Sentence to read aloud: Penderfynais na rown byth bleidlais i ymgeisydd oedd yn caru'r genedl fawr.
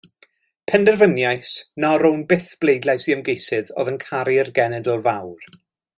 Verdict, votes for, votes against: rejected, 0, 2